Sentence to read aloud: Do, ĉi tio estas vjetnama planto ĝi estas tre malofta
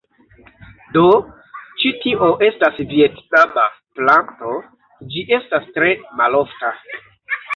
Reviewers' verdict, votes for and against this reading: accepted, 2, 1